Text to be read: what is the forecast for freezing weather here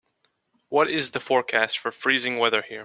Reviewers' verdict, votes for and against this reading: accepted, 2, 0